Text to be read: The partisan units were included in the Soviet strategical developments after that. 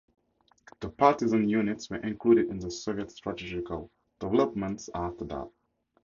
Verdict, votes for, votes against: accepted, 2, 0